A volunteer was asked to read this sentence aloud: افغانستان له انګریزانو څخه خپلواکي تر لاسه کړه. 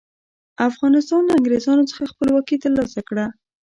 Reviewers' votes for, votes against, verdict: 1, 2, rejected